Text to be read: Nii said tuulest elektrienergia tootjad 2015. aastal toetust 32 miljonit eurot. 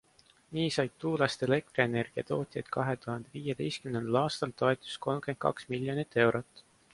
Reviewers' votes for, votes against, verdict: 0, 2, rejected